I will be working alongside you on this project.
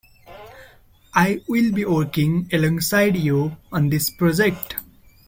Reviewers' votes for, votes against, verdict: 2, 1, accepted